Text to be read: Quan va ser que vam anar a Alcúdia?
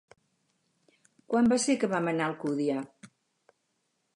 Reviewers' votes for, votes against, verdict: 4, 0, accepted